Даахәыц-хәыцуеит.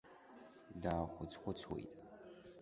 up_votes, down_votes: 2, 0